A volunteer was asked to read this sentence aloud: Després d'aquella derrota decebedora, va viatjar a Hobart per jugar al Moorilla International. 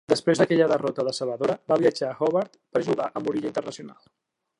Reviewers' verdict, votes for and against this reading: accepted, 2, 0